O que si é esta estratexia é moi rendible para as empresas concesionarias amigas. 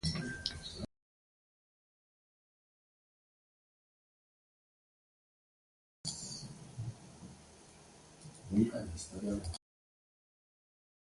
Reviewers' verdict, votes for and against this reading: rejected, 0, 2